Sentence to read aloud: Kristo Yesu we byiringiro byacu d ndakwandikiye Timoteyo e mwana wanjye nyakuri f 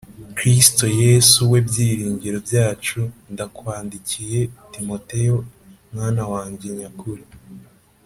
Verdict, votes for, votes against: accepted, 3, 0